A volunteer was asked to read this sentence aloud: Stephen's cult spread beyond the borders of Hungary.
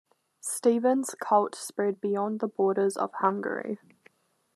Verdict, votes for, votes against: accepted, 2, 0